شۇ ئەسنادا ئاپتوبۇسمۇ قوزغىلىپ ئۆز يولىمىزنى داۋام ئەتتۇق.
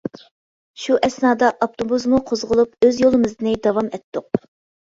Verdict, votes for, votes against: accepted, 2, 0